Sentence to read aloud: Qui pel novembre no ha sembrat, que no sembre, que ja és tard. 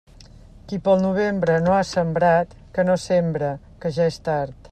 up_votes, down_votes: 2, 0